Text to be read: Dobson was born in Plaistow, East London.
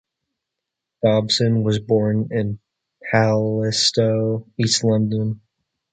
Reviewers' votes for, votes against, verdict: 2, 1, accepted